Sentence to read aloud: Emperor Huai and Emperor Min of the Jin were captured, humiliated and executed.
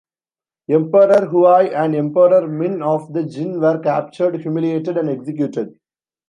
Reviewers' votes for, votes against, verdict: 2, 1, accepted